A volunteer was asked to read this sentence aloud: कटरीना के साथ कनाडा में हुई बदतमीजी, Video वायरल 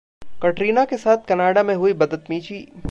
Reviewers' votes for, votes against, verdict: 1, 2, rejected